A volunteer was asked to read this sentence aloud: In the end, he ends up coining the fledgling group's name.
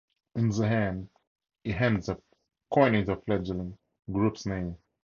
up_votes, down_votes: 2, 2